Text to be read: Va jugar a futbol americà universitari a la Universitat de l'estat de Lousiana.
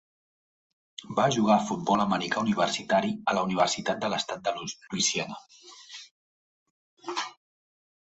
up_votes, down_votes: 0, 2